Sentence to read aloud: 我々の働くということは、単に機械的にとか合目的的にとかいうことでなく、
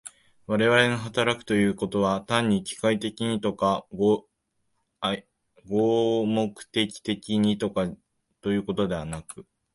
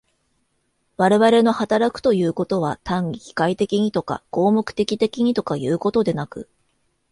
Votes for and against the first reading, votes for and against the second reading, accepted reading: 2, 5, 2, 0, second